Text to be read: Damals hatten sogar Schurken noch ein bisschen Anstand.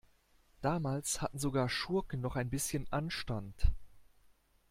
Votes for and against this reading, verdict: 2, 0, accepted